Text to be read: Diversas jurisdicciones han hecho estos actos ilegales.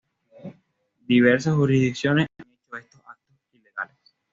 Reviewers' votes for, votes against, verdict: 1, 2, rejected